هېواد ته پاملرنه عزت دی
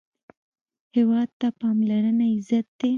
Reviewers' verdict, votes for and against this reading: accepted, 2, 0